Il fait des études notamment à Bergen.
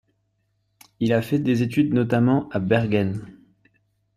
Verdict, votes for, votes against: accepted, 2, 1